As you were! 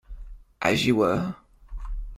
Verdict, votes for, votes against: accepted, 2, 0